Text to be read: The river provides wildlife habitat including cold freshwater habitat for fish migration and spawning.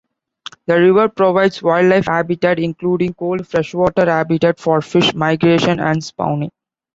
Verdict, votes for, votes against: accepted, 2, 0